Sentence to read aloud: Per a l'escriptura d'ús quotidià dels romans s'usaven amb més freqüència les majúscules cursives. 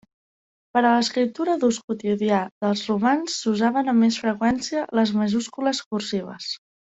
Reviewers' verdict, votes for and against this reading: accepted, 3, 0